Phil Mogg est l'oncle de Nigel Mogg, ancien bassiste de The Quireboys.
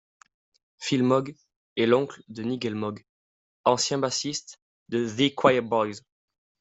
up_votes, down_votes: 1, 2